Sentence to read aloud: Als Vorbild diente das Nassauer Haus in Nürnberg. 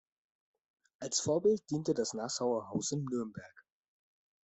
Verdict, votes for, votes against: rejected, 1, 2